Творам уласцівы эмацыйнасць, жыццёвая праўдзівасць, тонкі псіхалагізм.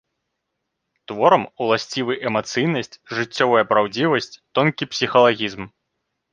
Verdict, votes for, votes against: accepted, 2, 0